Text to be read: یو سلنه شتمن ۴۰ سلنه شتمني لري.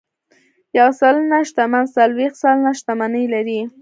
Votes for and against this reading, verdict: 0, 2, rejected